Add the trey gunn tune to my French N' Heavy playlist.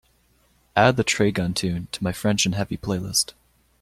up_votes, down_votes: 3, 0